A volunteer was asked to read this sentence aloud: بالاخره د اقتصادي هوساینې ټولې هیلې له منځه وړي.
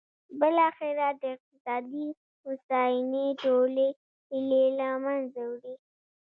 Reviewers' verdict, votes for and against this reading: rejected, 2, 3